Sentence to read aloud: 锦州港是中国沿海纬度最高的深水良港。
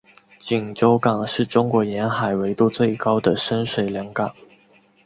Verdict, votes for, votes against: accepted, 6, 1